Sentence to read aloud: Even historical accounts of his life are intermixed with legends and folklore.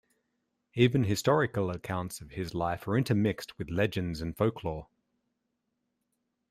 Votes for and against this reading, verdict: 2, 0, accepted